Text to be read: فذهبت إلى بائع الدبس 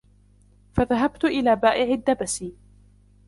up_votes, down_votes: 0, 2